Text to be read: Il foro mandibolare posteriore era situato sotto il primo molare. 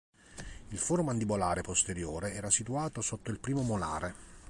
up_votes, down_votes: 2, 0